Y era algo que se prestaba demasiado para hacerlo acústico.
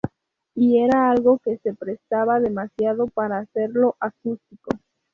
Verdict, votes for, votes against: rejected, 2, 2